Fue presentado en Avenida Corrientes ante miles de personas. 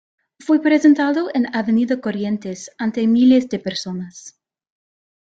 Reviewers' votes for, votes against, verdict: 1, 2, rejected